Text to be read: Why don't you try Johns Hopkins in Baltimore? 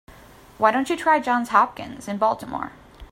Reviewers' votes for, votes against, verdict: 3, 0, accepted